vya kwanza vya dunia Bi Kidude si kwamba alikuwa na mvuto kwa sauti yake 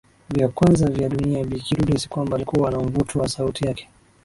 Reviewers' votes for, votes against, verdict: 11, 1, accepted